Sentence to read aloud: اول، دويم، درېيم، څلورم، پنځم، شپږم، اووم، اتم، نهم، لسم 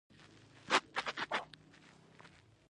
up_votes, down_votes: 0, 2